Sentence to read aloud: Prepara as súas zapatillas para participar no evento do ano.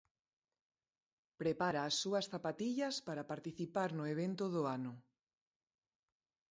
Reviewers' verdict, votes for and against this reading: accepted, 2, 0